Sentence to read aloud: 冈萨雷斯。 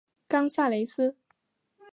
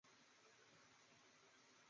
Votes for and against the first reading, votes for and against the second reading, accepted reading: 2, 0, 0, 3, first